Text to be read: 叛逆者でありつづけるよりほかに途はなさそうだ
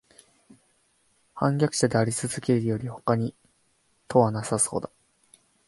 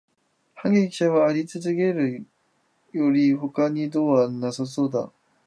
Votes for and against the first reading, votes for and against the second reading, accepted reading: 2, 0, 1, 2, first